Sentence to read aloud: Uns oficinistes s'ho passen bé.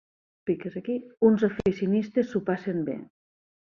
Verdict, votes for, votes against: rejected, 2, 4